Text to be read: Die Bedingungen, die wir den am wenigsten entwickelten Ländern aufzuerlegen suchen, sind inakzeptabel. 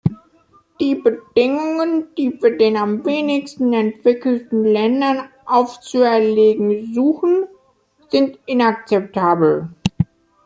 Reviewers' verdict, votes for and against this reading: accepted, 2, 0